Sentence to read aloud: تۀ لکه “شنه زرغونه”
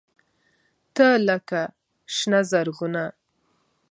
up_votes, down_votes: 2, 0